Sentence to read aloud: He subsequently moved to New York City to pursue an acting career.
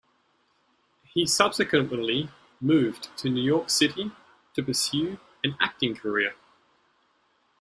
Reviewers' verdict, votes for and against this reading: rejected, 1, 2